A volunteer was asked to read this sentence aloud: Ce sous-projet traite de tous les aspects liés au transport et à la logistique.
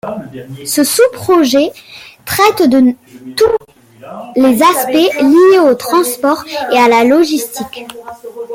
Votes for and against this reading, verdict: 2, 1, accepted